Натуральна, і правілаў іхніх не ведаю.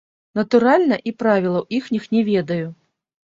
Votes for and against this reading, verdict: 1, 2, rejected